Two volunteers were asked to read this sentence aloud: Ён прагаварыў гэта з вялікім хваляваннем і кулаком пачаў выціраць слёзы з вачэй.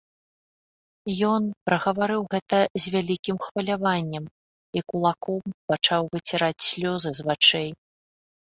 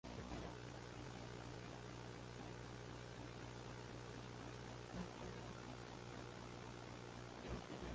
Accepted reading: first